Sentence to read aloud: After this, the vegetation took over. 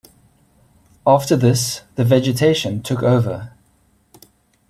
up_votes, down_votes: 2, 0